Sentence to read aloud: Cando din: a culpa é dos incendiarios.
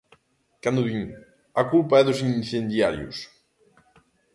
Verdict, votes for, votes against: accepted, 2, 0